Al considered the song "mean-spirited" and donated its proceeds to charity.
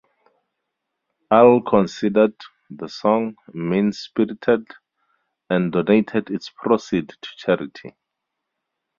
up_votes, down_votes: 0, 2